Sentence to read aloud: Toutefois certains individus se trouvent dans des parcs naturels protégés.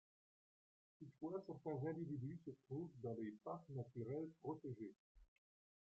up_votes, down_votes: 0, 2